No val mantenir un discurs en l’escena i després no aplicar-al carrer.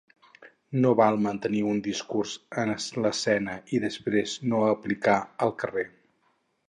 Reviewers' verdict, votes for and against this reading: rejected, 2, 4